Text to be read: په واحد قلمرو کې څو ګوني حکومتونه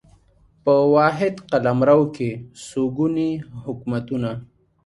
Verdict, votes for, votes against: accepted, 2, 0